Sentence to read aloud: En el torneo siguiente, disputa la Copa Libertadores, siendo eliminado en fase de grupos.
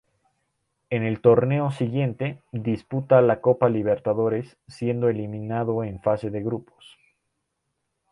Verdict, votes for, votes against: accepted, 2, 0